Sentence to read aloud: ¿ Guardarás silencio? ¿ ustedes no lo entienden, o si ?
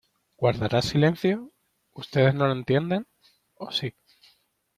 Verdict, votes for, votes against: accepted, 2, 1